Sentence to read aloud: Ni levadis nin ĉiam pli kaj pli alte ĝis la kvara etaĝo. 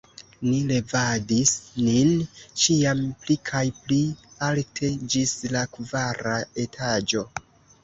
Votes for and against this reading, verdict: 2, 1, accepted